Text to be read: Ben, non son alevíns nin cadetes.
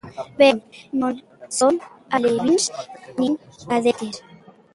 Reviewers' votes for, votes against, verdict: 0, 2, rejected